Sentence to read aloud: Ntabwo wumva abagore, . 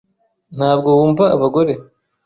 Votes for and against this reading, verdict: 2, 0, accepted